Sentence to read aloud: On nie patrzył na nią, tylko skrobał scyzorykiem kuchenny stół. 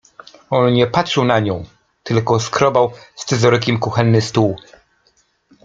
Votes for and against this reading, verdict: 1, 2, rejected